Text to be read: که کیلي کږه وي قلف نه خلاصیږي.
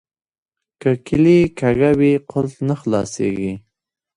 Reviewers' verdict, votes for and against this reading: accepted, 2, 0